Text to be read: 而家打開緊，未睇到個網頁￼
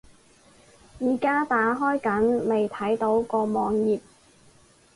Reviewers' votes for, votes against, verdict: 0, 4, rejected